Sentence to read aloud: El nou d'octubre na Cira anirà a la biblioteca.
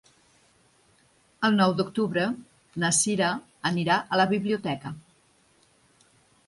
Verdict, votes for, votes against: accepted, 4, 0